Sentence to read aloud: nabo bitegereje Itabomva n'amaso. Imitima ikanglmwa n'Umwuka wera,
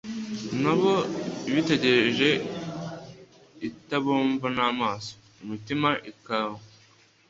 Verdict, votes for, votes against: rejected, 1, 2